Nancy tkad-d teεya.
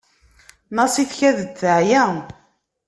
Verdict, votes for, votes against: rejected, 1, 2